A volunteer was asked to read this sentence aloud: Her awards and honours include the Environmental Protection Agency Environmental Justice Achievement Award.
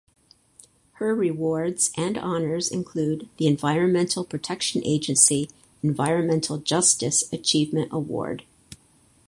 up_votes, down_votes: 2, 4